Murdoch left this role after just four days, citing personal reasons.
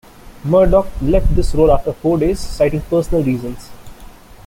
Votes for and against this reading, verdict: 1, 2, rejected